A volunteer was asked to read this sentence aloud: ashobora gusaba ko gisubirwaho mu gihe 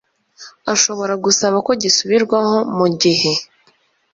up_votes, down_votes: 2, 0